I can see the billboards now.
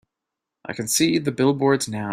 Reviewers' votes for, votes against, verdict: 2, 0, accepted